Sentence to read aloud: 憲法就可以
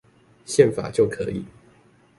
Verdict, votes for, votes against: accepted, 2, 0